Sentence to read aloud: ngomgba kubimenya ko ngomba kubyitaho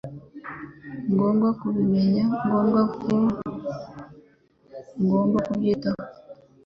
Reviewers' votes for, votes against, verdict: 0, 2, rejected